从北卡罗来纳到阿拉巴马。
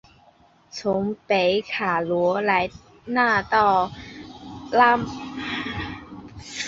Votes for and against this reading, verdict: 1, 2, rejected